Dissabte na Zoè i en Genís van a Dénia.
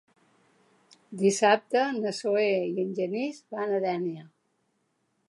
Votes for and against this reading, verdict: 2, 0, accepted